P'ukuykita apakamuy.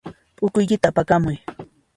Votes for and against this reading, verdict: 2, 0, accepted